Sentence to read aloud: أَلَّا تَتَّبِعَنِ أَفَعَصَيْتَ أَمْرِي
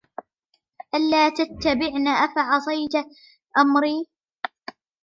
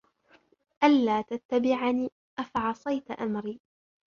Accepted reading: second